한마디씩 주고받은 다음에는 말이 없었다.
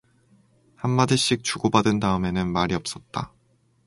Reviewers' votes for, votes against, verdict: 4, 0, accepted